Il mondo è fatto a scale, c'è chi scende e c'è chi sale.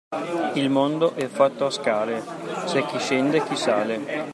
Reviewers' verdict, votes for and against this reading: rejected, 0, 2